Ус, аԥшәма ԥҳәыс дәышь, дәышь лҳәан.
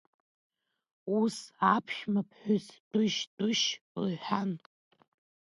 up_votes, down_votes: 2, 1